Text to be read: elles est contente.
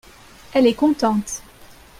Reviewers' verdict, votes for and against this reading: accepted, 2, 0